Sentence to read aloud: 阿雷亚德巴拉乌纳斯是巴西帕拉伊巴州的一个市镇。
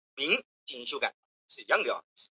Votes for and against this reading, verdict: 0, 2, rejected